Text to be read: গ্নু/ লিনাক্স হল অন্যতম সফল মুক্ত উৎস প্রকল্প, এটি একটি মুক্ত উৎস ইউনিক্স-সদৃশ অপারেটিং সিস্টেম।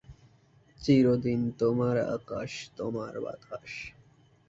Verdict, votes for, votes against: rejected, 0, 2